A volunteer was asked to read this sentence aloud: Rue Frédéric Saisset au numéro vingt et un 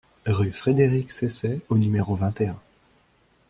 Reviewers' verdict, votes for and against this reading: accepted, 2, 0